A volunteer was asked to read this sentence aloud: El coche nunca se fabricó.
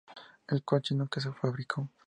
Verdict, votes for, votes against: accepted, 2, 0